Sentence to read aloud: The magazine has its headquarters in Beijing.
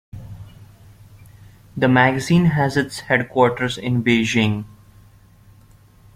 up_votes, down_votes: 2, 0